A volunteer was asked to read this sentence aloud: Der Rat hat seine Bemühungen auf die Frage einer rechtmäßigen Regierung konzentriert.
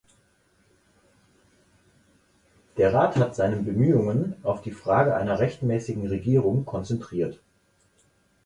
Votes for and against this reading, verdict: 4, 0, accepted